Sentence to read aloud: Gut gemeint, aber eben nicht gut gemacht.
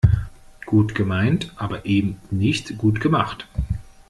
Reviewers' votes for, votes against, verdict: 2, 0, accepted